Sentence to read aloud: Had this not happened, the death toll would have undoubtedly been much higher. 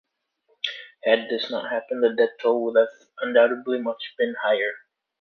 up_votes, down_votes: 2, 0